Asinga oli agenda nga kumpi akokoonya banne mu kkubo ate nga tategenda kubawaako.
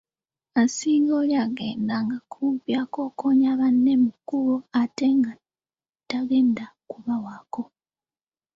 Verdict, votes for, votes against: accepted, 2, 0